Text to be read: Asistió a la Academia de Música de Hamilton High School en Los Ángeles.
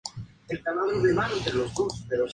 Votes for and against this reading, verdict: 0, 2, rejected